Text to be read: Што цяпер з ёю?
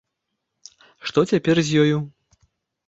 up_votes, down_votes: 2, 0